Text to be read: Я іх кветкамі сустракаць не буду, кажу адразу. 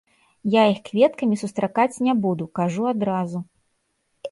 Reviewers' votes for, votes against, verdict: 1, 2, rejected